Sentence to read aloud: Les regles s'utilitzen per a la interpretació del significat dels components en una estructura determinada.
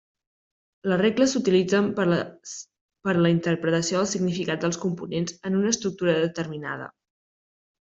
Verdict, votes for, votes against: rejected, 0, 2